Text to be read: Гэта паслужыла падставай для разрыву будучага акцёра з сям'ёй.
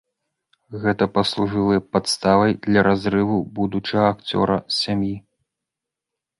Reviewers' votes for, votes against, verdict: 0, 3, rejected